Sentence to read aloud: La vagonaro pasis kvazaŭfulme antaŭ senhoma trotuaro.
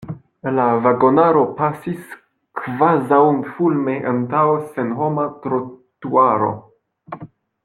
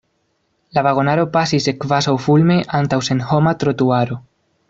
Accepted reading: second